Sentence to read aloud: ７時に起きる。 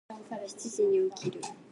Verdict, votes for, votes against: rejected, 0, 2